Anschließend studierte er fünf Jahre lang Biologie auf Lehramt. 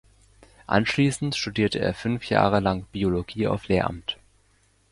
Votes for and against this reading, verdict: 2, 0, accepted